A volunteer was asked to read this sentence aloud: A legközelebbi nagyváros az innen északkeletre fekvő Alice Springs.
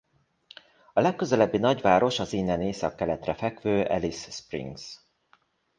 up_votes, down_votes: 2, 0